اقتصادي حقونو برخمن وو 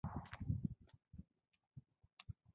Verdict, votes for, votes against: rejected, 1, 2